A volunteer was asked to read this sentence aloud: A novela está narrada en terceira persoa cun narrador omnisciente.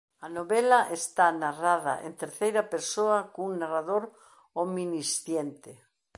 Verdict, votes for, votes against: rejected, 1, 2